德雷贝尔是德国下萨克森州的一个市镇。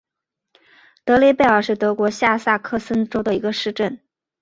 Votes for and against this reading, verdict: 3, 0, accepted